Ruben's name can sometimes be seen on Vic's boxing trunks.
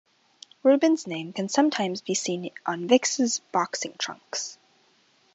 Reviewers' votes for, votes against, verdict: 2, 0, accepted